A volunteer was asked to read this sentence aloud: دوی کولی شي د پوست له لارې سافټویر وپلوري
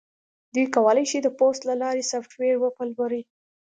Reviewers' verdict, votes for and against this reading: accepted, 2, 0